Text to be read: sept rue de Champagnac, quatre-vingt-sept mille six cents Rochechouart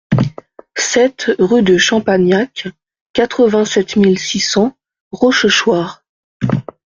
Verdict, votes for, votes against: accepted, 2, 0